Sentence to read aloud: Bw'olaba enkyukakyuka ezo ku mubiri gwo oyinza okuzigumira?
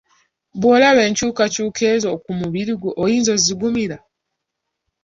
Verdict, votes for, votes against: accepted, 2, 0